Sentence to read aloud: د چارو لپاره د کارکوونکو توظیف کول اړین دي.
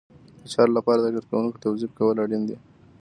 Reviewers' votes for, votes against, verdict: 2, 0, accepted